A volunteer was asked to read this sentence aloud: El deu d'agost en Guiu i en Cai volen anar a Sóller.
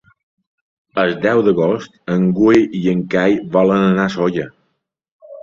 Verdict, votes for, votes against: rejected, 1, 2